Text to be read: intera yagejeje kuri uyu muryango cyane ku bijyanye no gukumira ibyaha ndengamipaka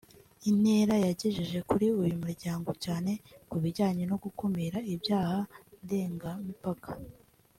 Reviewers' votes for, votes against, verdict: 3, 0, accepted